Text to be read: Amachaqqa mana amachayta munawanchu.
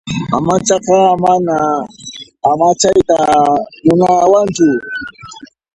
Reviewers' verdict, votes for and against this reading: rejected, 0, 2